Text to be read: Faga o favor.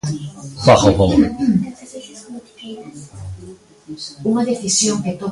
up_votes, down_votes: 0, 2